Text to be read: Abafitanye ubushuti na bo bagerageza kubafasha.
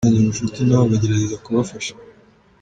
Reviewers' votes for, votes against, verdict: 1, 2, rejected